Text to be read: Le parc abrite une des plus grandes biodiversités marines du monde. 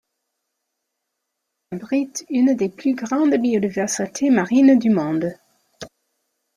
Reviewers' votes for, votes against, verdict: 0, 2, rejected